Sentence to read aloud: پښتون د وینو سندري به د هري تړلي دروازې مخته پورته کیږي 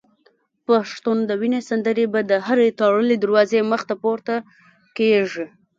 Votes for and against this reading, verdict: 1, 2, rejected